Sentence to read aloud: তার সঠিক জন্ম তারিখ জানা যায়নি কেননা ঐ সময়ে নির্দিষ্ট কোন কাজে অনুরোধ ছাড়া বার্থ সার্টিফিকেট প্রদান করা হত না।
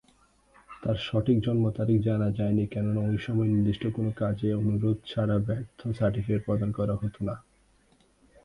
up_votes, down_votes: 0, 2